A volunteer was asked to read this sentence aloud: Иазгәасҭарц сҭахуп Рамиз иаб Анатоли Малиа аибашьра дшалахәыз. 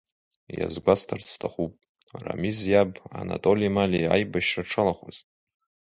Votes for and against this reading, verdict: 0, 2, rejected